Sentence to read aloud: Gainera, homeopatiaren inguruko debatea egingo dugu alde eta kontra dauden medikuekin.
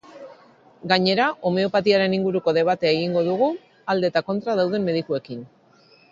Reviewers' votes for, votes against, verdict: 2, 0, accepted